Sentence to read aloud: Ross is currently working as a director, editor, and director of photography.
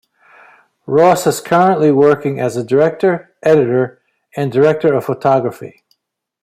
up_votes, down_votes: 2, 0